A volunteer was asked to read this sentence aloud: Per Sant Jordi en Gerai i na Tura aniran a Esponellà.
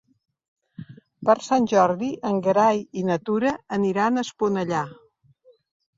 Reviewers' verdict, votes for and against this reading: rejected, 0, 2